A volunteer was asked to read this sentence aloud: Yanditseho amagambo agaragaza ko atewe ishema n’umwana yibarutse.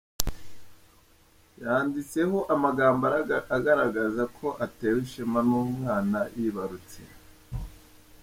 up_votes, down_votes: 0, 2